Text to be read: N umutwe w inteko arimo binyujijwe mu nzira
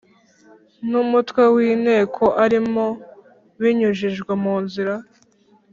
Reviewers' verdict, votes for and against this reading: accepted, 5, 0